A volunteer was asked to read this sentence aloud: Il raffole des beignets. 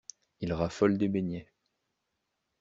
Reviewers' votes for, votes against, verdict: 2, 0, accepted